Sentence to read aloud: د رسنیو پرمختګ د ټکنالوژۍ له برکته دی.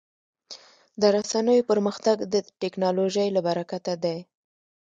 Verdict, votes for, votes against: rejected, 1, 2